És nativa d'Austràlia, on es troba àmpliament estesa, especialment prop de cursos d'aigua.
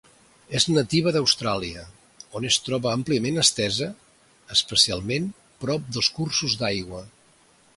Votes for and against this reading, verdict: 1, 2, rejected